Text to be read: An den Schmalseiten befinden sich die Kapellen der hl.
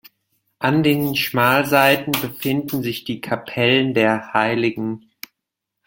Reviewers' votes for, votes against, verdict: 1, 2, rejected